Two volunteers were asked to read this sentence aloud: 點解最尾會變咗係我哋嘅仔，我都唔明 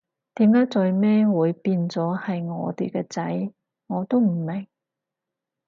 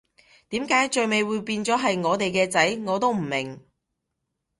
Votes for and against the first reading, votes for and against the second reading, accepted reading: 2, 2, 2, 0, second